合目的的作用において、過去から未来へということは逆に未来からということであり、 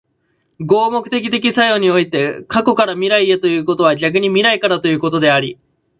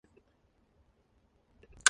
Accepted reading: first